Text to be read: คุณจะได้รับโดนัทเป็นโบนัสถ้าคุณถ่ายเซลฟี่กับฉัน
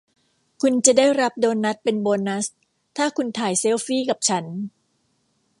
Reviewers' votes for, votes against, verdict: 2, 0, accepted